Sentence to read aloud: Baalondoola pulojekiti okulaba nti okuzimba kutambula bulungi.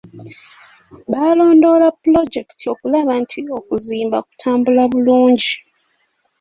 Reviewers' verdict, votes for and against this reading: accepted, 3, 0